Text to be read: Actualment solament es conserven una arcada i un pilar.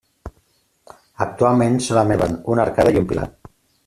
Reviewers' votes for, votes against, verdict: 0, 2, rejected